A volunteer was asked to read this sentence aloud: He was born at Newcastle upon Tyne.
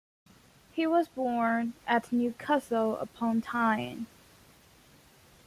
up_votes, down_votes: 1, 2